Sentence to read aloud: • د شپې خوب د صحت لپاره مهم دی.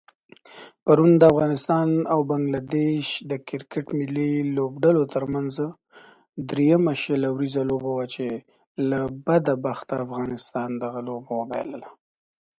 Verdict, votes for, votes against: rejected, 0, 2